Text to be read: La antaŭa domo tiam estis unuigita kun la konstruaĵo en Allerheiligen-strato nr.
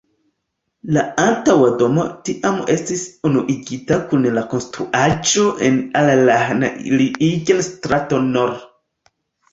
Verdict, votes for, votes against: accepted, 2, 0